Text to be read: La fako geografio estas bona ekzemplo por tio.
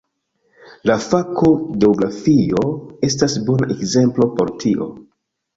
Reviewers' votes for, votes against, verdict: 2, 0, accepted